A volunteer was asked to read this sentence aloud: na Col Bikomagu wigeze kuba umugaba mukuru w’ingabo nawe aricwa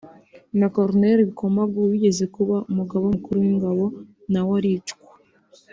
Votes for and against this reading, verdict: 2, 0, accepted